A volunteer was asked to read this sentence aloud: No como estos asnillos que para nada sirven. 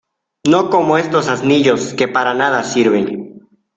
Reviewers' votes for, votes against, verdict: 2, 0, accepted